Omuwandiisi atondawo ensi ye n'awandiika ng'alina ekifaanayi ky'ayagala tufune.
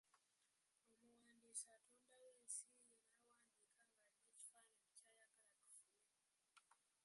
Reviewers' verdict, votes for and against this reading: rejected, 1, 2